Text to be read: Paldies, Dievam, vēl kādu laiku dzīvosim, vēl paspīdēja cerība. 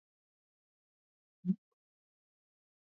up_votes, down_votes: 0, 2